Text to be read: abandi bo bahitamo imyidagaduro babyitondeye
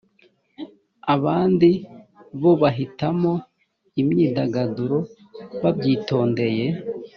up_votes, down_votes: 2, 0